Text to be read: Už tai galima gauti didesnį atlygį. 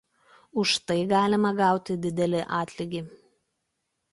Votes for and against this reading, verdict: 0, 2, rejected